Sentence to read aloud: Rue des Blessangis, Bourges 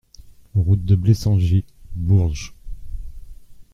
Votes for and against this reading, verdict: 0, 2, rejected